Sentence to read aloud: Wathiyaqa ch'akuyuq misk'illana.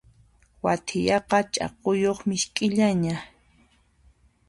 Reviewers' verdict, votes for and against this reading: accepted, 2, 0